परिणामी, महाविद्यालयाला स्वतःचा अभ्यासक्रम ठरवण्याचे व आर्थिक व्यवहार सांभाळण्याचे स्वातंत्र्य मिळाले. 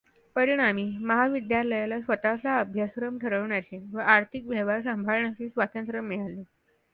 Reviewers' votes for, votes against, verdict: 2, 0, accepted